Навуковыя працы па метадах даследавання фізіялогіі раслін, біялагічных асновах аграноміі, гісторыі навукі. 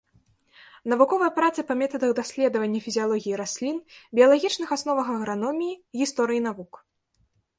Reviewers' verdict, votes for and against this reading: rejected, 0, 2